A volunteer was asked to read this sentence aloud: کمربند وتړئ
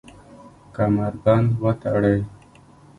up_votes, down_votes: 1, 2